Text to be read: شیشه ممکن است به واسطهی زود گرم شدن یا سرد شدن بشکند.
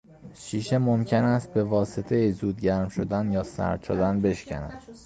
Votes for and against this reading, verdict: 2, 0, accepted